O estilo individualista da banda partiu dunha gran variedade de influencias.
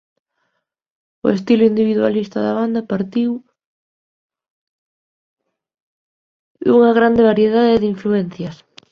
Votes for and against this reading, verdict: 0, 3, rejected